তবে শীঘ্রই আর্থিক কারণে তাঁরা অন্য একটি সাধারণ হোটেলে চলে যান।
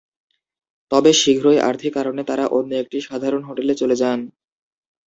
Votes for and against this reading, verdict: 9, 2, accepted